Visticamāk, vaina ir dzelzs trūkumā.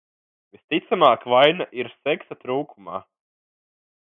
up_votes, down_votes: 0, 2